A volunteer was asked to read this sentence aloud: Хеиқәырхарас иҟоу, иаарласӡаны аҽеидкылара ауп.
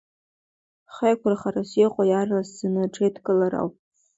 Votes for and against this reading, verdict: 2, 0, accepted